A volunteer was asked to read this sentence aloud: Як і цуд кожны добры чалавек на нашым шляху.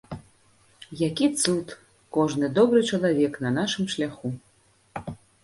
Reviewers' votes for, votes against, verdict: 1, 2, rejected